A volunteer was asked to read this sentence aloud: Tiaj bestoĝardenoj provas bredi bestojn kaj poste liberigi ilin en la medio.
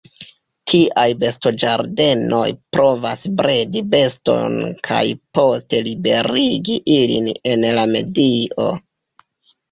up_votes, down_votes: 0, 2